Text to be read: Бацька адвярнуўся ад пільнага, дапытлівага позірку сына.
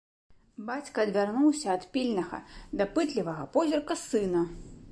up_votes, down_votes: 1, 2